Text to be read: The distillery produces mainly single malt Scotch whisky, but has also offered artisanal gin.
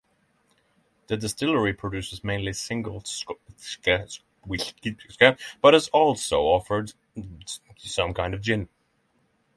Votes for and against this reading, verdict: 0, 6, rejected